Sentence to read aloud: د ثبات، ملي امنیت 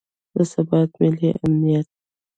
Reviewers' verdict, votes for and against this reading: rejected, 1, 2